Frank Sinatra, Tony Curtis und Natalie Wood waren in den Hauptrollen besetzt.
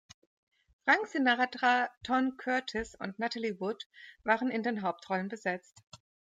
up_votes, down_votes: 1, 2